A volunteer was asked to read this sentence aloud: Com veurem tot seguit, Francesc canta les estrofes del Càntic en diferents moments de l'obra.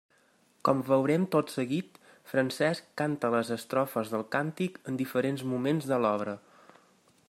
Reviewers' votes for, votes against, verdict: 3, 0, accepted